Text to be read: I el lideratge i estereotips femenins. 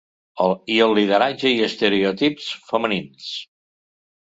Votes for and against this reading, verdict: 1, 2, rejected